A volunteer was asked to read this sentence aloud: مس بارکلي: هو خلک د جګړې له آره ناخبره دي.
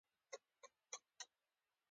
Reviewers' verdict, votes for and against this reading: accepted, 3, 1